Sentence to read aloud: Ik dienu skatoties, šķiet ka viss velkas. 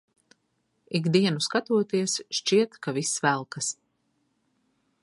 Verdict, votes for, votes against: accepted, 2, 0